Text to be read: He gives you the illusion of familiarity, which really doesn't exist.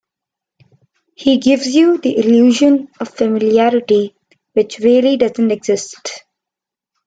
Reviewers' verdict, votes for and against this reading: accepted, 2, 1